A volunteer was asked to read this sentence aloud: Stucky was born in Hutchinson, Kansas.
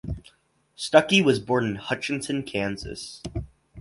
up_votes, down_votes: 2, 0